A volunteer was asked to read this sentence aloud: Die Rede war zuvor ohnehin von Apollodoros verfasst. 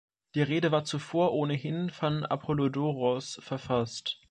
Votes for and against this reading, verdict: 2, 0, accepted